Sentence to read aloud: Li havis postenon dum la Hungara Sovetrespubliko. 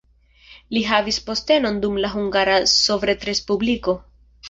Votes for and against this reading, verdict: 2, 0, accepted